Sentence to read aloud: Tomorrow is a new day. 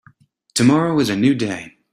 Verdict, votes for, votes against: accepted, 2, 0